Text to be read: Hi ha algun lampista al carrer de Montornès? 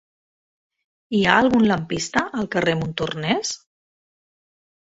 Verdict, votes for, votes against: rejected, 0, 2